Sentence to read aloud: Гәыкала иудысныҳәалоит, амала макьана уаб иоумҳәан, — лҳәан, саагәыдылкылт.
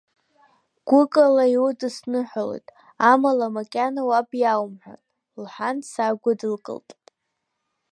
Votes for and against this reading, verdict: 2, 0, accepted